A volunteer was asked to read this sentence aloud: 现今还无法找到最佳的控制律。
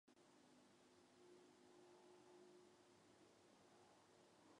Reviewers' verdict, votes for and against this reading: rejected, 0, 2